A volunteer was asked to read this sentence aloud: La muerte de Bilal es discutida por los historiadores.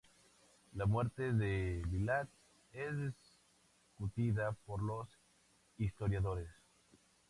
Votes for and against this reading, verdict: 0, 4, rejected